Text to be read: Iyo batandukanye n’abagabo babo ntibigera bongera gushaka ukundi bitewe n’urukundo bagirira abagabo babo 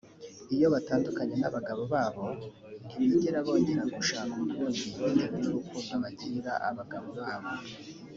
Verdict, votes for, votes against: accepted, 2, 0